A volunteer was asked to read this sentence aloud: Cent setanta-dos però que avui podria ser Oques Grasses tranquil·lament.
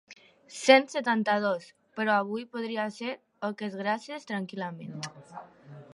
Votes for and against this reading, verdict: 1, 2, rejected